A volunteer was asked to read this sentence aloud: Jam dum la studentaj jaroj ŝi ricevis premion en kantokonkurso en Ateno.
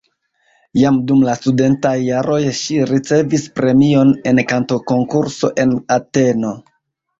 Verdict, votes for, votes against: accepted, 2, 1